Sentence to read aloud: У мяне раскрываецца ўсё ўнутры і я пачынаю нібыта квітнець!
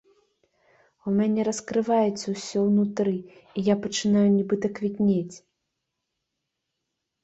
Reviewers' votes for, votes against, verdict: 2, 0, accepted